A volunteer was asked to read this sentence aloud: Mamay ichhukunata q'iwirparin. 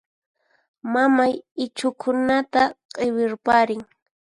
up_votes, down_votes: 4, 0